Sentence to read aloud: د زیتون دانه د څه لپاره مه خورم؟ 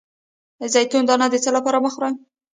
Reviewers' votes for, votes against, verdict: 1, 2, rejected